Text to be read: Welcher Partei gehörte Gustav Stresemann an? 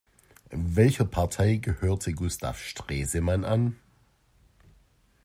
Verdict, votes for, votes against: accepted, 2, 0